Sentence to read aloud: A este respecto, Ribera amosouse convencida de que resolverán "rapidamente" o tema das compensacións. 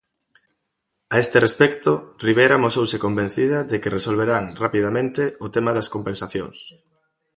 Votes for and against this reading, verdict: 2, 0, accepted